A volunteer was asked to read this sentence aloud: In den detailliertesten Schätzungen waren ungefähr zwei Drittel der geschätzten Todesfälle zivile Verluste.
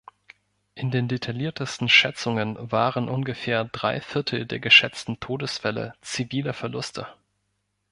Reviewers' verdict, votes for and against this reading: rejected, 1, 3